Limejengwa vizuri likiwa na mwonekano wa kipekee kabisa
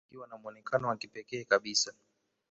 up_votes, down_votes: 1, 2